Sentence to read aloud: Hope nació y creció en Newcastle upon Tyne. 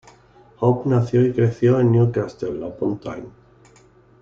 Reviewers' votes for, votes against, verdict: 2, 1, accepted